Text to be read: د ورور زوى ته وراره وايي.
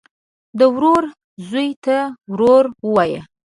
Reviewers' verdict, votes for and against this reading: rejected, 1, 2